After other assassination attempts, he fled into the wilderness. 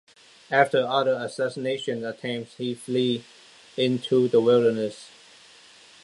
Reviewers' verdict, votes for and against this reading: accepted, 2, 1